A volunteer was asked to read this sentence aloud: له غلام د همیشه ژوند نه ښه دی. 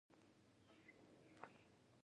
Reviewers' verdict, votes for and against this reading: rejected, 0, 2